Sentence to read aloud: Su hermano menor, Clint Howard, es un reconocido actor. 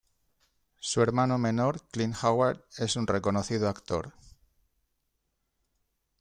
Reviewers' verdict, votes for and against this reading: accepted, 2, 0